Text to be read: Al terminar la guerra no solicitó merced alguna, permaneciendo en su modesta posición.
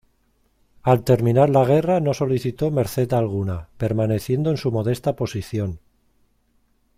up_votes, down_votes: 2, 0